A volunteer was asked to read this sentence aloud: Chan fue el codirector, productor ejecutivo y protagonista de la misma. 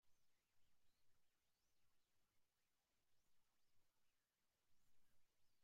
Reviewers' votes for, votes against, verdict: 0, 2, rejected